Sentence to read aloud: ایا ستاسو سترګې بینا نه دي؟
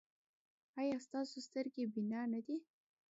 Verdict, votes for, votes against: rejected, 1, 2